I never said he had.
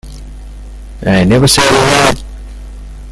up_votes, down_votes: 1, 2